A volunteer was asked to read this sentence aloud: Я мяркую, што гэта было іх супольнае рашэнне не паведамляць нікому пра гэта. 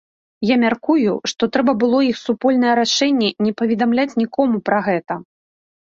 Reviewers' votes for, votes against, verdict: 0, 2, rejected